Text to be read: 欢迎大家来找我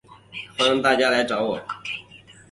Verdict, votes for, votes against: accepted, 3, 0